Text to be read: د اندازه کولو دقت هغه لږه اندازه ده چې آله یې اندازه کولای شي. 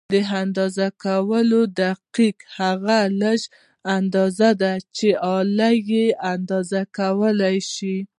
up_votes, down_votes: 0, 2